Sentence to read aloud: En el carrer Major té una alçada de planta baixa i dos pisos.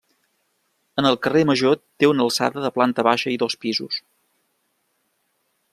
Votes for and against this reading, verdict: 3, 0, accepted